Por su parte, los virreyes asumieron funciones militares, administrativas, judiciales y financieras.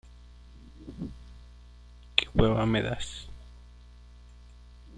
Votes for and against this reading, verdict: 0, 2, rejected